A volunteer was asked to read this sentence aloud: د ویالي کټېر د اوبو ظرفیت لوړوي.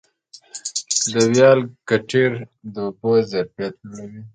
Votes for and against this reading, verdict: 2, 0, accepted